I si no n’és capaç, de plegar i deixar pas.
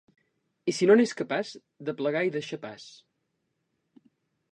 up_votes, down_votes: 4, 0